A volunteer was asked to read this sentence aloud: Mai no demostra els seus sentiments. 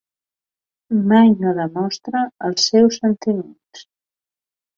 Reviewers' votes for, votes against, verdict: 3, 1, accepted